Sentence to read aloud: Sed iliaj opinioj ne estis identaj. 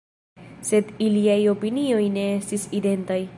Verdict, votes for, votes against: rejected, 1, 2